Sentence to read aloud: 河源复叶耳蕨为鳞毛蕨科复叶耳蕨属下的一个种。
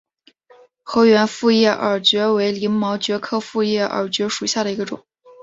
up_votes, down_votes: 4, 0